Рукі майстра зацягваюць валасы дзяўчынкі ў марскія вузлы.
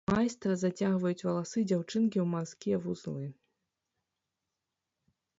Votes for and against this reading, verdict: 1, 2, rejected